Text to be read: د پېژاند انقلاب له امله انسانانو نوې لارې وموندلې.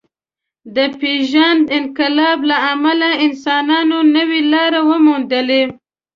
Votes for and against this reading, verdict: 1, 2, rejected